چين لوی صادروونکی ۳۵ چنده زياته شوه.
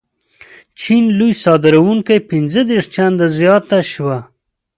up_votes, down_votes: 0, 2